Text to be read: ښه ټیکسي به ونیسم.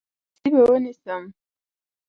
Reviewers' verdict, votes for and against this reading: rejected, 0, 2